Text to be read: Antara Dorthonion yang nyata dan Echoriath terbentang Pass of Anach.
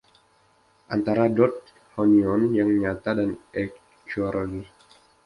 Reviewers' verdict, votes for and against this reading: rejected, 0, 2